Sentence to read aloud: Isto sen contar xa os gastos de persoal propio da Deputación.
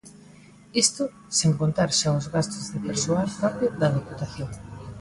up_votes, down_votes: 2, 0